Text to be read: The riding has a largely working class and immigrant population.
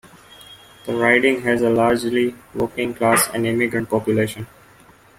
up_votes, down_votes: 2, 1